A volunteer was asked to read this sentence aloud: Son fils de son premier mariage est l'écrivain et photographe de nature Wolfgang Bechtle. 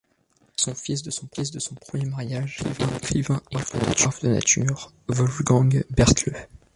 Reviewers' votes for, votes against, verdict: 0, 2, rejected